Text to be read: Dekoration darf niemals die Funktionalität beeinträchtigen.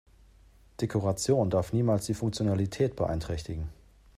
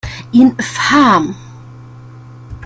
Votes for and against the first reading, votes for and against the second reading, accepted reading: 2, 0, 0, 2, first